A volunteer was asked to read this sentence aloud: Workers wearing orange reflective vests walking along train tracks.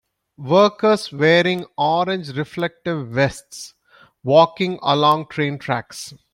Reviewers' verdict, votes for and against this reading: accepted, 2, 0